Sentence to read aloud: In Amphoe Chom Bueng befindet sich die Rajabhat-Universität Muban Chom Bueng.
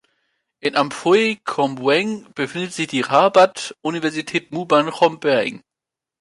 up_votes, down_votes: 1, 2